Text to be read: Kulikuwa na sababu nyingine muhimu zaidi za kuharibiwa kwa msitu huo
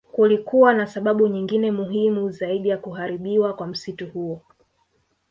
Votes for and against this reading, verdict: 5, 0, accepted